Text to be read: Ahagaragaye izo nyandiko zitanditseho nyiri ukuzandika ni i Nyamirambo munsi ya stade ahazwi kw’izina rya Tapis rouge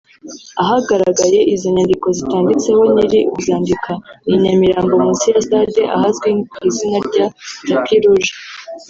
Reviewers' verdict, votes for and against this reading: rejected, 1, 2